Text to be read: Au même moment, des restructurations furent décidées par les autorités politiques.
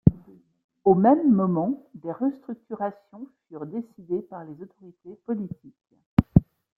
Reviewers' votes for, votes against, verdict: 0, 2, rejected